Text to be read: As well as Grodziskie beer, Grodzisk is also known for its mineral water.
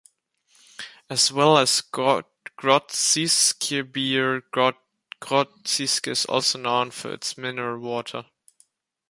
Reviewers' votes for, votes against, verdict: 1, 2, rejected